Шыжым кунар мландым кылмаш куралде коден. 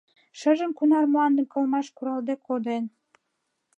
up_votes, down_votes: 2, 0